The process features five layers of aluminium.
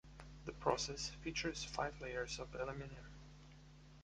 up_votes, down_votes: 2, 0